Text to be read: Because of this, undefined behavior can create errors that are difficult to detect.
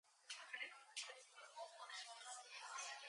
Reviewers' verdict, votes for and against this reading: rejected, 0, 4